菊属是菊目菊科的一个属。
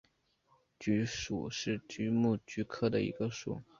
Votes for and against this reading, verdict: 2, 0, accepted